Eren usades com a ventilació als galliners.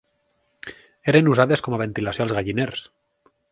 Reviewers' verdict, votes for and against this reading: accepted, 4, 0